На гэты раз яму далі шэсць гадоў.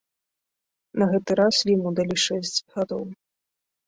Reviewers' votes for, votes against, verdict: 2, 0, accepted